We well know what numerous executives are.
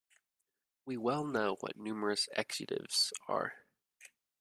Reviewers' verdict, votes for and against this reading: rejected, 0, 2